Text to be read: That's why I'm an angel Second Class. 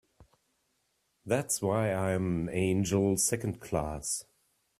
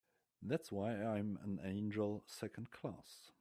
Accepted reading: second